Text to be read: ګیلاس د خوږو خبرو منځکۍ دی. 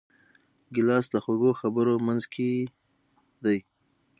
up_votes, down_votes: 6, 0